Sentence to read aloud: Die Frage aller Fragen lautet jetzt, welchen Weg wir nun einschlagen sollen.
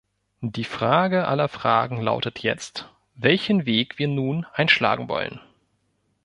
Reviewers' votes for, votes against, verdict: 0, 2, rejected